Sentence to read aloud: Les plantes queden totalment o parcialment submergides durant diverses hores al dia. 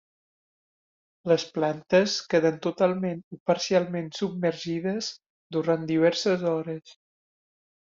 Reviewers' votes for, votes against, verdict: 0, 2, rejected